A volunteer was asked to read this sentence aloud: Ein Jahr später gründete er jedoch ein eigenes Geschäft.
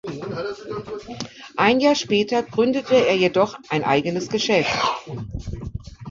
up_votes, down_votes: 2, 1